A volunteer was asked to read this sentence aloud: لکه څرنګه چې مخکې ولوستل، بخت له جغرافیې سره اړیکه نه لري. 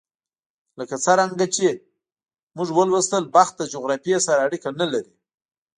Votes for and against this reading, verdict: 0, 2, rejected